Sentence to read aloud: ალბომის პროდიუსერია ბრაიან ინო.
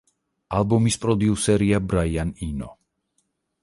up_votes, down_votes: 4, 0